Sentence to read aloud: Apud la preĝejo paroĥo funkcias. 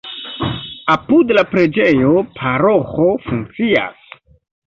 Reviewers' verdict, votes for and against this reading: accepted, 2, 0